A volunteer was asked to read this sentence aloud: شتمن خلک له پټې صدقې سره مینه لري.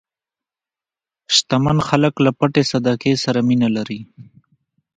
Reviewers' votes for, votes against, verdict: 1, 2, rejected